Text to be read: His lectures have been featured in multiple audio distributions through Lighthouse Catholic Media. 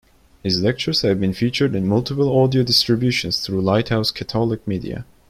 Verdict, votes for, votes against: accepted, 2, 1